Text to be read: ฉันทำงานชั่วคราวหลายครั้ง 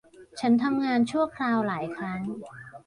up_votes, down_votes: 1, 2